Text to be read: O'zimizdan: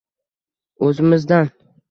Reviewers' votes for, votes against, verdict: 1, 2, rejected